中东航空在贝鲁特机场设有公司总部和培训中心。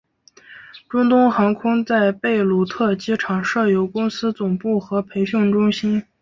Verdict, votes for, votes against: accepted, 2, 0